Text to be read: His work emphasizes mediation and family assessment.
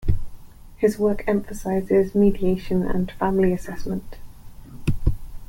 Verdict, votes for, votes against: accepted, 2, 0